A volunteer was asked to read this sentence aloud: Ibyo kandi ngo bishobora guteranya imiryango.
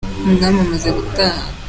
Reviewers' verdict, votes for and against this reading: rejected, 0, 2